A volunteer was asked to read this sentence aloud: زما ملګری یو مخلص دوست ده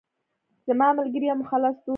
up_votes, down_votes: 0, 2